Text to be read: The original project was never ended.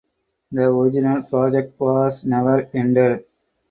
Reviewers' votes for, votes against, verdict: 0, 4, rejected